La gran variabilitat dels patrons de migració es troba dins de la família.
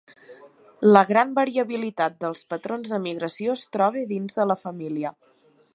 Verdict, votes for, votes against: accepted, 3, 0